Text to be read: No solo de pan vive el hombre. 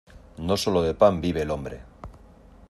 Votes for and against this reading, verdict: 2, 0, accepted